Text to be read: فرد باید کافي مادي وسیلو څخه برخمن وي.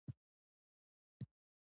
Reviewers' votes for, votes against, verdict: 0, 2, rejected